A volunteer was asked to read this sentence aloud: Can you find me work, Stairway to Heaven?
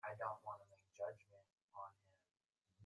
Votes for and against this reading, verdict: 0, 2, rejected